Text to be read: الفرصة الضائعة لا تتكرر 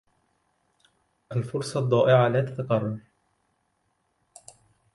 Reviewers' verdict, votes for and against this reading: rejected, 1, 2